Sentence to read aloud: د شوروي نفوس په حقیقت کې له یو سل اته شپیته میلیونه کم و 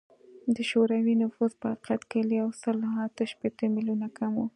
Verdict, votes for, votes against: accepted, 2, 0